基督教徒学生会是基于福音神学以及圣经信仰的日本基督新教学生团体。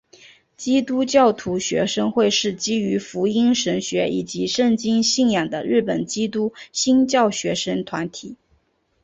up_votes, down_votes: 6, 0